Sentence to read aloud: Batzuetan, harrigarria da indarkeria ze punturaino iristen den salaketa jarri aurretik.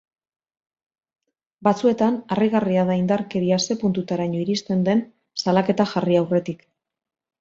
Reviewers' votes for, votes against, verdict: 1, 2, rejected